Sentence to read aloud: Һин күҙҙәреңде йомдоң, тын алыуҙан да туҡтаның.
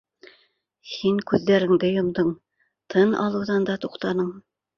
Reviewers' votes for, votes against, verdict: 2, 0, accepted